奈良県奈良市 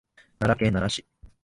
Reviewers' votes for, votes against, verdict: 2, 0, accepted